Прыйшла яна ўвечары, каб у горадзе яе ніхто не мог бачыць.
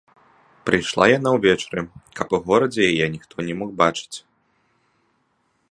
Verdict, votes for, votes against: accepted, 2, 0